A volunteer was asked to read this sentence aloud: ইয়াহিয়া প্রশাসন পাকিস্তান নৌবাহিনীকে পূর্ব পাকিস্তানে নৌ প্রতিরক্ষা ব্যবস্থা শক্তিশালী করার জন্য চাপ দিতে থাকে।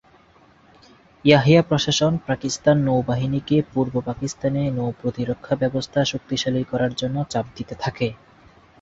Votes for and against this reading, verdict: 2, 2, rejected